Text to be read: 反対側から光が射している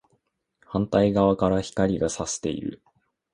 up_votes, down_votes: 3, 0